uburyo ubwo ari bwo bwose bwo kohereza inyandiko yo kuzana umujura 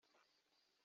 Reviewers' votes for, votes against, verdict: 0, 2, rejected